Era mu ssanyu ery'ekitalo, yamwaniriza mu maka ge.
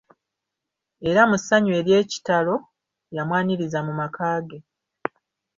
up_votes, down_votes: 2, 0